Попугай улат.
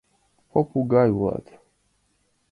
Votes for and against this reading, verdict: 2, 0, accepted